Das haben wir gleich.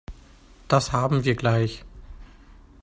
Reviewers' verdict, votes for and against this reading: accepted, 2, 0